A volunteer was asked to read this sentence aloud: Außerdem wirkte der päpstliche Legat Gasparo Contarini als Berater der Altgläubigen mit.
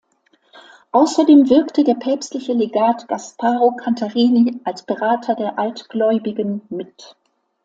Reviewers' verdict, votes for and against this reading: accepted, 2, 0